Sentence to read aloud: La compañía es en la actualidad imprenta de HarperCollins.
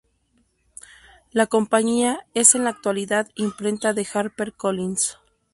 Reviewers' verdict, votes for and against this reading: accepted, 2, 0